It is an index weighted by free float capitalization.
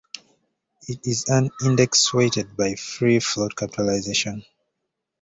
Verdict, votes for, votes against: rejected, 1, 2